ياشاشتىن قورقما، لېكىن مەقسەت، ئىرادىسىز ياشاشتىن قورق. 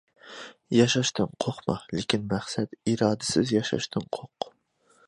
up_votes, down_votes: 2, 0